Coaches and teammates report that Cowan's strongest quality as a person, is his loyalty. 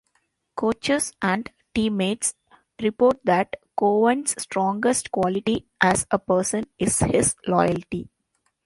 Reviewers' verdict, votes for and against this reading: accepted, 2, 0